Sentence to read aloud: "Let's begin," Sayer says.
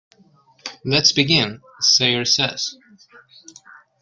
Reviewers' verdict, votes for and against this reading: accepted, 3, 1